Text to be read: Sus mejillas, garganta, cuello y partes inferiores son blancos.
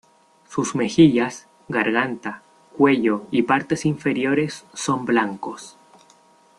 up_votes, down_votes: 2, 0